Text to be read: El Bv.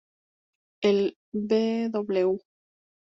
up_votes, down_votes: 0, 2